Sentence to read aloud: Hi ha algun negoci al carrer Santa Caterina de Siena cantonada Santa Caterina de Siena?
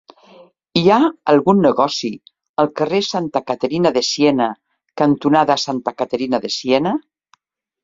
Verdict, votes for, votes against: accepted, 3, 0